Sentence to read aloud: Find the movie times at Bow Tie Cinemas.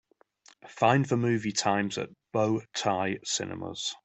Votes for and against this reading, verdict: 4, 0, accepted